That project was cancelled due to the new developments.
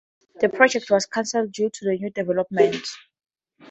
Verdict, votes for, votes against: accepted, 2, 0